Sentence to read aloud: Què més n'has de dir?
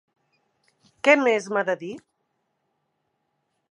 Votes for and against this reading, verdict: 1, 2, rejected